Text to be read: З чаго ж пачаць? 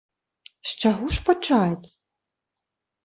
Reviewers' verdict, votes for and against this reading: accepted, 2, 0